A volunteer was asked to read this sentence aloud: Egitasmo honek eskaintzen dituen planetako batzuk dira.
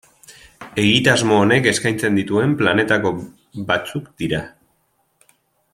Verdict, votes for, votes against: rejected, 0, 2